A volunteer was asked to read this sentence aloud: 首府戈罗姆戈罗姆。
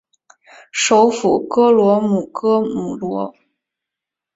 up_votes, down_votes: 1, 2